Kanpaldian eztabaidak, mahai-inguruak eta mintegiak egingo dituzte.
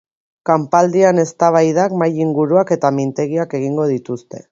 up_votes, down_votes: 7, 0